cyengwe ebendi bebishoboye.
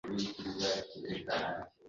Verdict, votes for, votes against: rejected, 0, 2